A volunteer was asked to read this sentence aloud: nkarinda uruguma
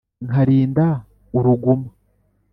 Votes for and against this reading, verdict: 2, 0, accepted